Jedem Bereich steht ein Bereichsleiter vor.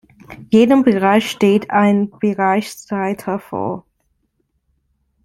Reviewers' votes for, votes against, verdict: 2, 0, accepted